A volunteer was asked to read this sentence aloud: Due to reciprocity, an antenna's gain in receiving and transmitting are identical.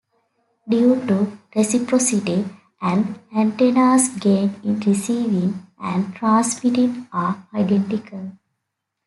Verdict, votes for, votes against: accepted, 2, 0